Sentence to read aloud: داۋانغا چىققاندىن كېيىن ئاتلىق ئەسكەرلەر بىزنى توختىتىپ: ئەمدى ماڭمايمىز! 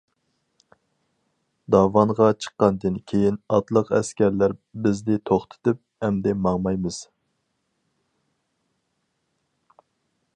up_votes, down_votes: 4, 0